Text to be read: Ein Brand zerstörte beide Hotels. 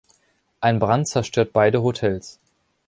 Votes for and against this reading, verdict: 1, 2, rejected